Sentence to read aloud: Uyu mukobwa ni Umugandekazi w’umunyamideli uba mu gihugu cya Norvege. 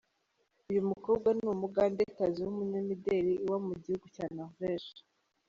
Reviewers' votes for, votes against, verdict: 2, 0, accepted